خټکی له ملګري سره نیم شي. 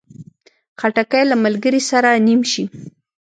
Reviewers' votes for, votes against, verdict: 2, 0, accepted